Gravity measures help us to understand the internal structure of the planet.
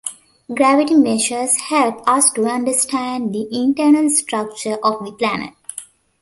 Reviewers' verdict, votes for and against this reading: accepted, 2, 0